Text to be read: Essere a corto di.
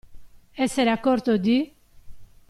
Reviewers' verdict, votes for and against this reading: accepted, 2, 1